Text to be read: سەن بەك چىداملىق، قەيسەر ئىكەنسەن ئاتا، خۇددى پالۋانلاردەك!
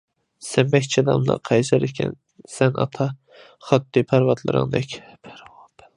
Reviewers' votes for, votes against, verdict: 0, 2, rejected